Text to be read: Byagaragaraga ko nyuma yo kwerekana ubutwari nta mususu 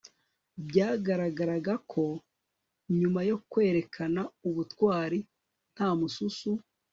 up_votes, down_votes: 4, 0